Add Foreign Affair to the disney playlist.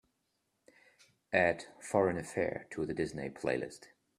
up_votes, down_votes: 2, 0